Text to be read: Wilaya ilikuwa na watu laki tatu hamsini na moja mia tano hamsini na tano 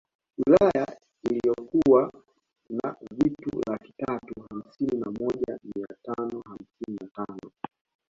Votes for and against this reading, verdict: 0, 2, rejected